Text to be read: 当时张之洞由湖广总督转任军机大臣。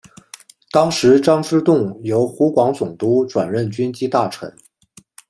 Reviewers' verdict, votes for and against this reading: accepted, 2, 0